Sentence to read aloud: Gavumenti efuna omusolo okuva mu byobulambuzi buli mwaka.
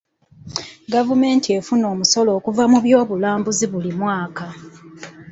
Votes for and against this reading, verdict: 2, 0, accepted